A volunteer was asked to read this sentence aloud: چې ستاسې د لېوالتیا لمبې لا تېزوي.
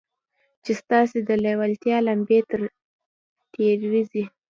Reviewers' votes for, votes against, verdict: 0, 2, rejected